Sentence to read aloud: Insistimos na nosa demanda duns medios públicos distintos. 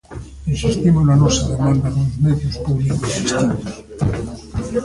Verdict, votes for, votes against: accepted, 2, 0